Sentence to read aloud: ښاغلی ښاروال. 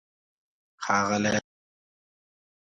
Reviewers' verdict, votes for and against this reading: rejected, 1, 2